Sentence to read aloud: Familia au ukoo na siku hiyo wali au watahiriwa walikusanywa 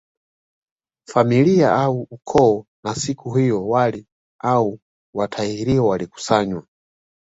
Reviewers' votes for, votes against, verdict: 2, 1, accepted